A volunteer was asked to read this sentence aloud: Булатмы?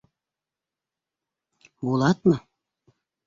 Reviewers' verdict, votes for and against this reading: accepted, 2, 0